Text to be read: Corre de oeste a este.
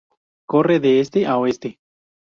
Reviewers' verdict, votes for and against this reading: rejected, 0, 2